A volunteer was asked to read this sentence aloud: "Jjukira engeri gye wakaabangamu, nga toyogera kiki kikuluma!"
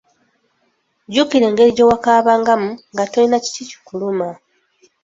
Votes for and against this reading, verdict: 0, 2, rejected